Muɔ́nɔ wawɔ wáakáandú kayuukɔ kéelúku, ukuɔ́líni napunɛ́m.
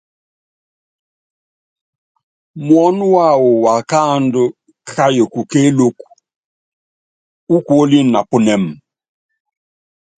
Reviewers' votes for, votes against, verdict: 2, 0, accepted